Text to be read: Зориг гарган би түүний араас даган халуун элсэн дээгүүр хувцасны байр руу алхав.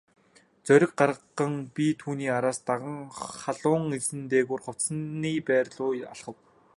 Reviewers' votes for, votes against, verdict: 1, 2, rejected